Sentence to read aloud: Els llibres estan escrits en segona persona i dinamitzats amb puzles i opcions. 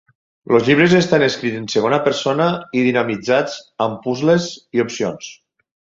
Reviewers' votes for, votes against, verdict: 0, 6, rejected